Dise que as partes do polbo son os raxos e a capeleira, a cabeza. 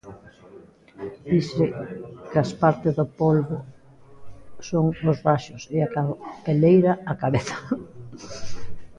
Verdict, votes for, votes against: rejected, 0, 2